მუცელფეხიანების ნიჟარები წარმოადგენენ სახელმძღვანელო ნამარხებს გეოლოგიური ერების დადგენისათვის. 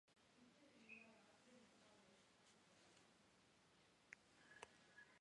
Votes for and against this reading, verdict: 1, 2, rejected